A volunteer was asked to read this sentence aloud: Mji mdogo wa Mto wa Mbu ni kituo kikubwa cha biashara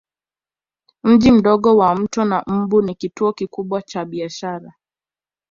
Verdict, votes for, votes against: accepted, 3, 0